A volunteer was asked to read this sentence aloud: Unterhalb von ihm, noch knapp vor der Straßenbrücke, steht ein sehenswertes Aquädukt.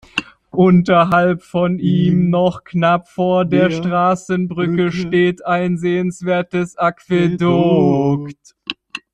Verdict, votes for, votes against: accepted, 2, 1